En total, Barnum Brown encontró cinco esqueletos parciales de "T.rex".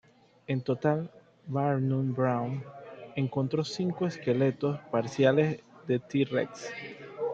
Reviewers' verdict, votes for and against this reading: accepted, 2, 0